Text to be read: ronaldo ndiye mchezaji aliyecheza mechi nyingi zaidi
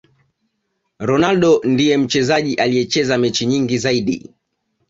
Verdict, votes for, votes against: accepted, 2, 1